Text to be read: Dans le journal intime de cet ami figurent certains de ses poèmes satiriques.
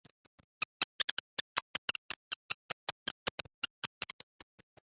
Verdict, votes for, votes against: rejected, 0, 2